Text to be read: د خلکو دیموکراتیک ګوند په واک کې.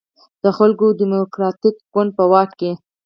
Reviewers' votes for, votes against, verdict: 4, 0, accepted